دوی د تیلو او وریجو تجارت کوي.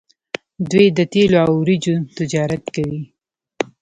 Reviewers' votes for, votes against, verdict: 2, 0, accepted